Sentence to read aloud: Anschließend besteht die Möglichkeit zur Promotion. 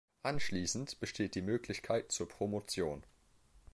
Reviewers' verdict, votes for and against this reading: accepted, 2, 0